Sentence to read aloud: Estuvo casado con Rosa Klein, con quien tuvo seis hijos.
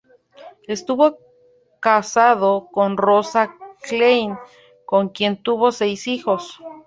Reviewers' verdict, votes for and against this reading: rejected, 0, 2